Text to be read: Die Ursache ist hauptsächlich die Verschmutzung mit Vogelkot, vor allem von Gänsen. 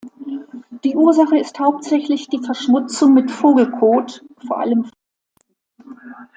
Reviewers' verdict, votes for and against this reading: rejected, 0, 2